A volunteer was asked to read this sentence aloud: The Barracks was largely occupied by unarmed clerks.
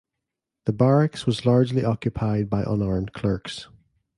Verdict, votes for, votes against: accepted, 2, 0